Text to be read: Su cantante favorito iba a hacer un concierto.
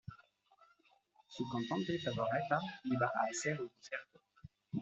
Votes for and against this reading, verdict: 1, 2, rejected